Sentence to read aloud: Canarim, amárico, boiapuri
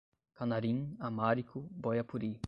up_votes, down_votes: 5, 5